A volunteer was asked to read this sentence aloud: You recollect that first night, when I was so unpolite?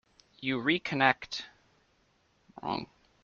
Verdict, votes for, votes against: rejected, 0, 2